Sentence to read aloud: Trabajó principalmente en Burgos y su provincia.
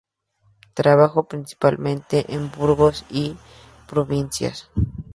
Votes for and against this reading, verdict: 0, 2, rejected